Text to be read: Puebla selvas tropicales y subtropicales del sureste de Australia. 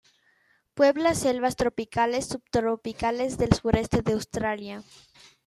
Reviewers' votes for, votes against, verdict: 0, 2, rejected